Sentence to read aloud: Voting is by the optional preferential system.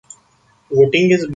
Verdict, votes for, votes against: rejected, 0, 2